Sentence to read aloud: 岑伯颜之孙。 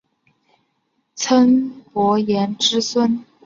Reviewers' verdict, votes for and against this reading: accepted, 5, 0